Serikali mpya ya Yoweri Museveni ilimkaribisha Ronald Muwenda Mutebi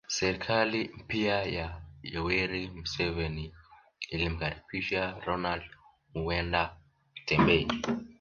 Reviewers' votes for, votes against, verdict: 1, 2, rejected